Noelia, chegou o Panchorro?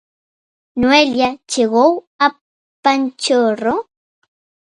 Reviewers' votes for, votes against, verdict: 0, 2, rejected